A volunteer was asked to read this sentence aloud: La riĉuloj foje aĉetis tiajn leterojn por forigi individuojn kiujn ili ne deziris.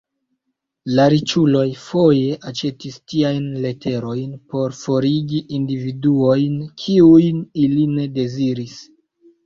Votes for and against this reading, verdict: 0, 2, rejected